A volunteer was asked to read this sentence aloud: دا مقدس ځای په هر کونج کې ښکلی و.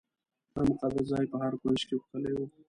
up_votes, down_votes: 0, 2